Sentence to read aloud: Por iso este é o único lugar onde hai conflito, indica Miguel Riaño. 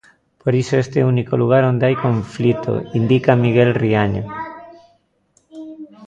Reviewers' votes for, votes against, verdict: 1, 2, rejected